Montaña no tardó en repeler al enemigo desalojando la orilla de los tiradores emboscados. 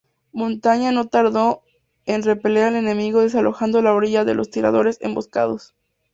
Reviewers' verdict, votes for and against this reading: accepted, 2, 0